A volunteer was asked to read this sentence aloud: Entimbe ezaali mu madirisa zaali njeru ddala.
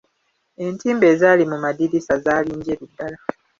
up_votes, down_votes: 2, 0